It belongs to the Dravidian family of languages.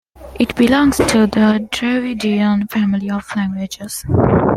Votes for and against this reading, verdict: 2, 0, accepted